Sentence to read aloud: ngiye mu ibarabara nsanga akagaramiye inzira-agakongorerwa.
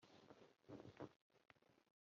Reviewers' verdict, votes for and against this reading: rejected, 0, 2